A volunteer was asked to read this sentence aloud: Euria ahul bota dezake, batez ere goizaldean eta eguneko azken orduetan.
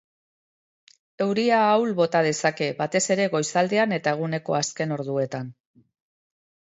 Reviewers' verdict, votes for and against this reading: accepted, 2, 0